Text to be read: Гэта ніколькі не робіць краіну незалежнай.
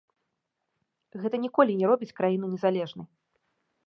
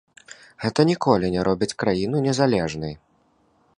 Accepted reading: second